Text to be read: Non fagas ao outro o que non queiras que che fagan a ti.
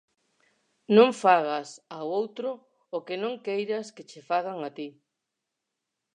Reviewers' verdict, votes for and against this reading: accepted, 4, 0